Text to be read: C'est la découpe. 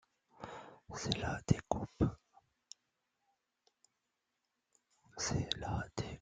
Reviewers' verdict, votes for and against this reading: rejected, 0, 2